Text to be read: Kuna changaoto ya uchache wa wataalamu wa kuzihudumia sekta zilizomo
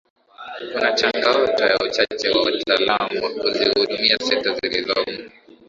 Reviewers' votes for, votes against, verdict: 0, 2, rejected